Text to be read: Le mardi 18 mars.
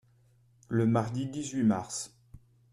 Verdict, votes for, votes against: rejected, 0, 2